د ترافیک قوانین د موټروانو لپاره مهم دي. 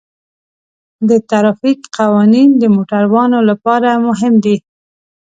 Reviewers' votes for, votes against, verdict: 2, 0, accepted